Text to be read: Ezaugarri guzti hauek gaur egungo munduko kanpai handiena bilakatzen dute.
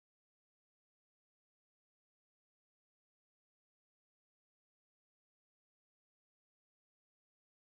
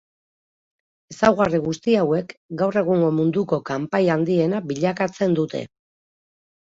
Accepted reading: second